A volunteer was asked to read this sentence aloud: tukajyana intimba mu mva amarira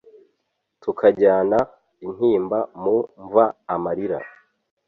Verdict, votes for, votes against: accepted, 2, 0